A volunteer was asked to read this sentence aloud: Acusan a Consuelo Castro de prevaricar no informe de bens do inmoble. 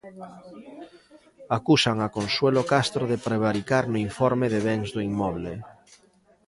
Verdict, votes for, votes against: accepted, 2, 0